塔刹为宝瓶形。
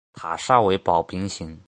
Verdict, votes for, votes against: accepted, 2, 0